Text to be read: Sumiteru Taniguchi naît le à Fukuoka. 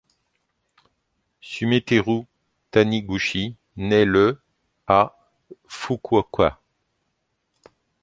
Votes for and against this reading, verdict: 1, 2, rejected